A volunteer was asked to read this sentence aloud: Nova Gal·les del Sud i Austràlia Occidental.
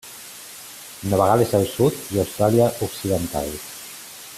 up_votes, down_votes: 2, 1